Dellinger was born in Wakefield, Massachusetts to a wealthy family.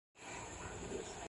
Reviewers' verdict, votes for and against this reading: rejected, 0, 2